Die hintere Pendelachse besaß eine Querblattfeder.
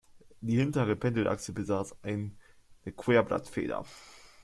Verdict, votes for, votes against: rejected, 0, 2